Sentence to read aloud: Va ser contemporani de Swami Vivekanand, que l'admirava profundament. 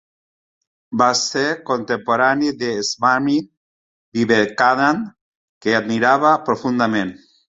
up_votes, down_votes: 0, 3